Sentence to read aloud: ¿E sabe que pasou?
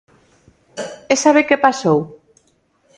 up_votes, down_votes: 2, 0